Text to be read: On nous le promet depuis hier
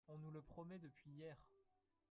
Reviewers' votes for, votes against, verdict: 0, 4, rejected